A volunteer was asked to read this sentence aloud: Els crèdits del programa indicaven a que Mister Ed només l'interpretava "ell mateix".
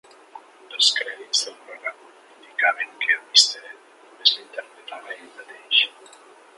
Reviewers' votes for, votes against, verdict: 1, 2, rejected